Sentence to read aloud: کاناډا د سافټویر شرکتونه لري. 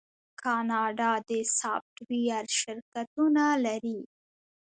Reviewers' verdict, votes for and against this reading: rejected, 1, 2